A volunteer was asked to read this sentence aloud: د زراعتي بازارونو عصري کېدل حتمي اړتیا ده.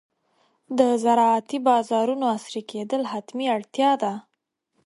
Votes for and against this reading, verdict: 2, 0, accepted